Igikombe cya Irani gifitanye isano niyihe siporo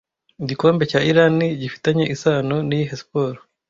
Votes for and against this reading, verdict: 2, 0, accepted